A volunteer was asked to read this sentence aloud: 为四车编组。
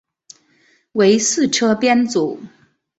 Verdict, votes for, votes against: accepted, 4, 0